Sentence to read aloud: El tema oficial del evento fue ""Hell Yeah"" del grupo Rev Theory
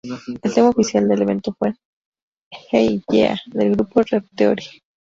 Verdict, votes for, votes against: accepted, 2, 0